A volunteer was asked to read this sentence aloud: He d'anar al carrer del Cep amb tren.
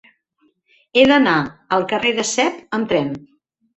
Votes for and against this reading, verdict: 1, 2, rejected